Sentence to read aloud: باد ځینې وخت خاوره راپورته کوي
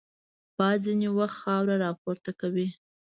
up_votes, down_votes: 1, 2